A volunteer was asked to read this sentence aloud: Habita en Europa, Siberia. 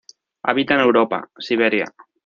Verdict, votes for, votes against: rejected, 1, 2